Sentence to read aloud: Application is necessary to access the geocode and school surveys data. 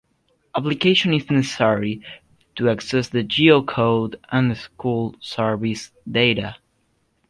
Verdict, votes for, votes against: rejected, 0, 2